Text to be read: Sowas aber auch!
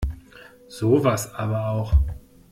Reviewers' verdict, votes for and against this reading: accepted, 2, 0